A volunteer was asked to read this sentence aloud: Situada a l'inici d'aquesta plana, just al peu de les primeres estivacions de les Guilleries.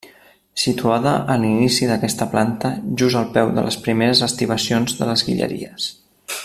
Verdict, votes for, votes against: rejected, 0, 2